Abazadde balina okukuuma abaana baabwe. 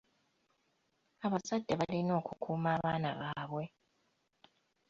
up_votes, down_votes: 2, 0